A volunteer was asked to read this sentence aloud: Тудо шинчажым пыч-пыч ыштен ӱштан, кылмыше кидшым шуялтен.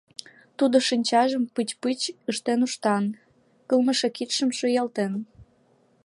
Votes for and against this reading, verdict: 0, 2, rejected